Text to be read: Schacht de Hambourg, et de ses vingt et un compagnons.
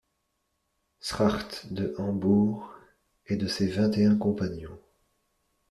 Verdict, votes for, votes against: rejected, 1, 2